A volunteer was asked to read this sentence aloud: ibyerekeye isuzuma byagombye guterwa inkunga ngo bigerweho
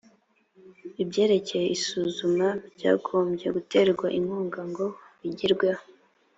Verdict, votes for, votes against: accepted, 2, 0